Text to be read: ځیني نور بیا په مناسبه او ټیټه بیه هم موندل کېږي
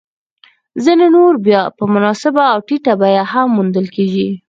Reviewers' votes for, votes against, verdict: 4, 0, accepted